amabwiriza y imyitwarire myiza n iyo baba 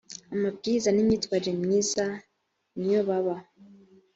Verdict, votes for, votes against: rejected, 1, 2